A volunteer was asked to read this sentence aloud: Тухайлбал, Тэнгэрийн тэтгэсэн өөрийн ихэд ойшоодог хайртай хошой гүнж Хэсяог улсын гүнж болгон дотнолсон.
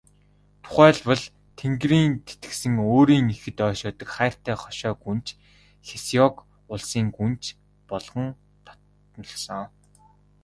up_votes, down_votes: 0, 2